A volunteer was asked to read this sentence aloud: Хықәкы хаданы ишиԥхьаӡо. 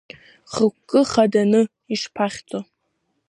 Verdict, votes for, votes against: rejected, 0, 2